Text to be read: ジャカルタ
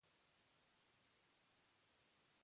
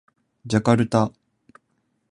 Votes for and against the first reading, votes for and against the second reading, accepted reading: 0, 2, 2, 0, second